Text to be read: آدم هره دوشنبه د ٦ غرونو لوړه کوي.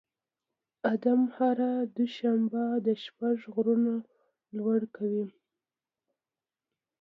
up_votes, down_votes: 0, 2